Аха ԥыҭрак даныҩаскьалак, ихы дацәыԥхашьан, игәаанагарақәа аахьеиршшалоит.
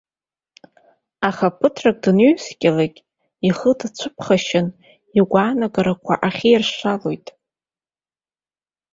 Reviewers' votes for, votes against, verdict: 0, 2, rejected